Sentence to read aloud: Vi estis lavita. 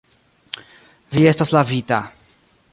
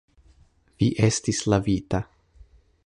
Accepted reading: second